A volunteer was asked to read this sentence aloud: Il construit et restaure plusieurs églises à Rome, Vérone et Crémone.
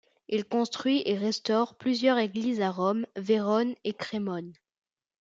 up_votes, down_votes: 2, 0